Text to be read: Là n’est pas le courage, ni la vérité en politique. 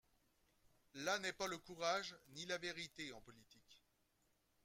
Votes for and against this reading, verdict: 2, 1, accepted